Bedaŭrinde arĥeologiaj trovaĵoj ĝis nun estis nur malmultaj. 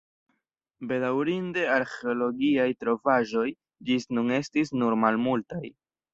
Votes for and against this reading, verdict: 2, 0, accepted